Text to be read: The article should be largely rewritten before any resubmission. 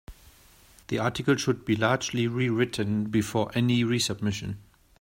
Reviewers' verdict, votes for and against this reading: accepted, 2, 0